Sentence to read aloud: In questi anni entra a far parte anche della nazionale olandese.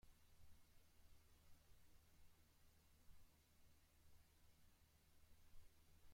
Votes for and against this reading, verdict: 0, 2, rejected